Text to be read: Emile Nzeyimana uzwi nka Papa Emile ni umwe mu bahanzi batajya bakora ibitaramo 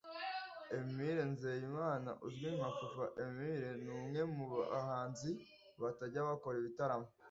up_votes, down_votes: 2, 0